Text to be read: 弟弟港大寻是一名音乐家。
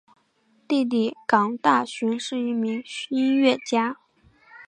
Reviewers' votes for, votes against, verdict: 2, 0, accepted